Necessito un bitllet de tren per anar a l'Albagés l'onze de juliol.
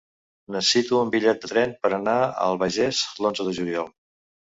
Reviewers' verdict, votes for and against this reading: rejected, 1, 2